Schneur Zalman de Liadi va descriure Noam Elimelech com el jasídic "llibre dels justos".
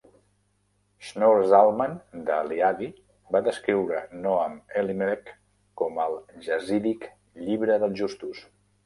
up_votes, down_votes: 0, 2